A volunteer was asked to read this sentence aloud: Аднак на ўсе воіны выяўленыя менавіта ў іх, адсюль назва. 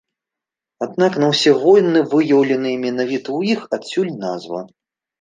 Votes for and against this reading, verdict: 3, 0, accepted